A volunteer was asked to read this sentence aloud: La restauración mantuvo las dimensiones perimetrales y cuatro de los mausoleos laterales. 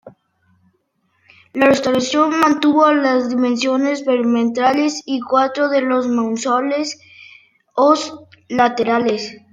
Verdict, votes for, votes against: rejected, 0, 2